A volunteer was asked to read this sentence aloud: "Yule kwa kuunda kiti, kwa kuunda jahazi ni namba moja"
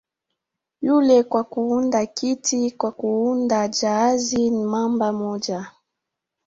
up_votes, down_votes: 3, 1